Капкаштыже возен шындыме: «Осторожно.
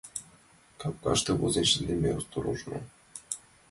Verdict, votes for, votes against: rejected, 0, 2